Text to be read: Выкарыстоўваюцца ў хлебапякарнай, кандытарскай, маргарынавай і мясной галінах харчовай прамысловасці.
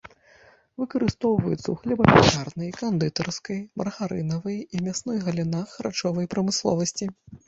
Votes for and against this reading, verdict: 1, 2, rejected